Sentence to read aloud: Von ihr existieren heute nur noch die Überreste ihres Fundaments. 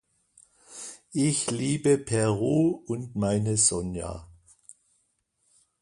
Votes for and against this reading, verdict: 0, 2, rejected